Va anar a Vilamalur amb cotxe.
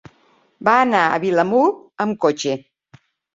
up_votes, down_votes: 0, 2